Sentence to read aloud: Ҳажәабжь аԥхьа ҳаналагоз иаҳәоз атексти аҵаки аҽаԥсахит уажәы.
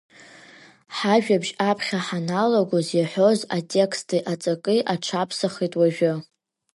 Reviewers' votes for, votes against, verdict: 2, 0, accepted